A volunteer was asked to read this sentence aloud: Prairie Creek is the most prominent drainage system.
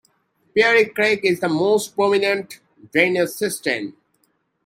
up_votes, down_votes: 0, 2